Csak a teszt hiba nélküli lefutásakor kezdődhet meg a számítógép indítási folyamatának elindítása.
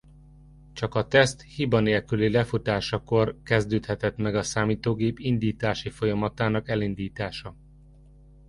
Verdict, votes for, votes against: rejected, 0, 2